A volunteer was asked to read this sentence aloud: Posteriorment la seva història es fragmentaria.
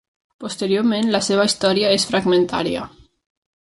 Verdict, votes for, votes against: rejected, 0, 2